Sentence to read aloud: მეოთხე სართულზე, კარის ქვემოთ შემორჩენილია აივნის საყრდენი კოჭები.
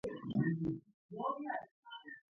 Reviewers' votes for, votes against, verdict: 0, 2, rejected